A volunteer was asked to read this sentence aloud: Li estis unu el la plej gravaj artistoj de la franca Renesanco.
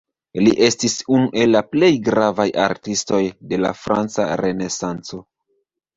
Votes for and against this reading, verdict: 1, 2, rejected